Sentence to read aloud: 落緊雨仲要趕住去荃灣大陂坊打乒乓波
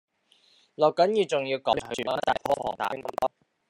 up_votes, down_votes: 0, 2